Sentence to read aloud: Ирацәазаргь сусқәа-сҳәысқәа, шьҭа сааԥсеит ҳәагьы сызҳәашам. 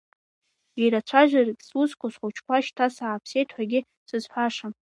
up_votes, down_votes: 1, 2